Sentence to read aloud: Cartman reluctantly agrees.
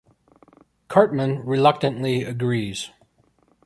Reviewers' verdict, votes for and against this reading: accepted, 3, 0